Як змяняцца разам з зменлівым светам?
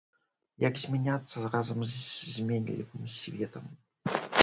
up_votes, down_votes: 1, 2